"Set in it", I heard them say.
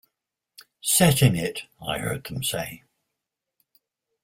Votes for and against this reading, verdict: 2, 0, accepted